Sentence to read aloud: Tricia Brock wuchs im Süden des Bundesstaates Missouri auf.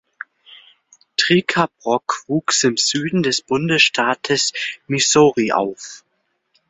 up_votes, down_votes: 2, 1